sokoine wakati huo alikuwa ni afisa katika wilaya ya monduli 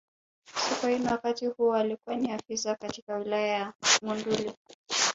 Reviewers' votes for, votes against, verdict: 0, 2, rejected